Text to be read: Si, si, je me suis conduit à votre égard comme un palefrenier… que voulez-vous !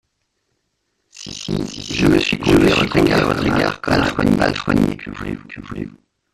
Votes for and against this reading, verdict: 0, 2, rejected